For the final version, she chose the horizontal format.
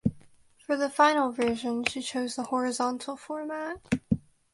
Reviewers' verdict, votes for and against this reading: accepted, 2, 1